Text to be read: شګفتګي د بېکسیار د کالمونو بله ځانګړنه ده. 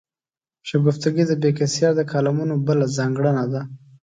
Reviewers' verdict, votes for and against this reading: accepted, 2, 0